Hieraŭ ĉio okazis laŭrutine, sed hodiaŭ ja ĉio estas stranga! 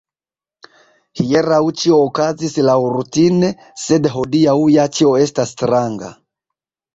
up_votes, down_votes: 2, 0